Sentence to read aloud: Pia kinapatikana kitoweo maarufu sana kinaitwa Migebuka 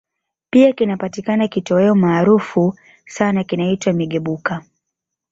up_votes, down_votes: 2, 0